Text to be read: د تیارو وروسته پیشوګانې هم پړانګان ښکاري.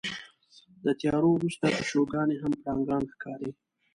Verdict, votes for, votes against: accepted, 2, 0